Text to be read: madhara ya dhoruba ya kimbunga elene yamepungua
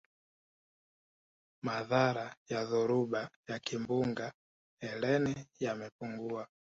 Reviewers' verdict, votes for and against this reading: rejected, 1, 2